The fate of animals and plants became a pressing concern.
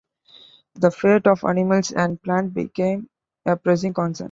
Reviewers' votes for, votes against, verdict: 2, 1, accepted